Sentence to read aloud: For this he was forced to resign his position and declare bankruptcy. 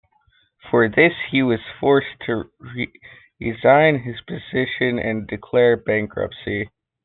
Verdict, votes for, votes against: rejected, 1, 2